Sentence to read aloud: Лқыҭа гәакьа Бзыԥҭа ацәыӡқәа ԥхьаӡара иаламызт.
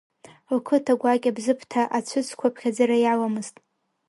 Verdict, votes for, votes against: rejected, 1, 2